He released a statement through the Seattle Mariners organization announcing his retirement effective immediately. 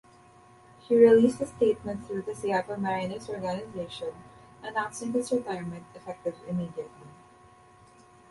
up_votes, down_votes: 1, 3